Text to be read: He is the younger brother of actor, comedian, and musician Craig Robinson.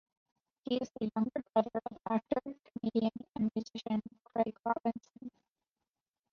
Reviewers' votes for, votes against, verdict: 0, 2, rejected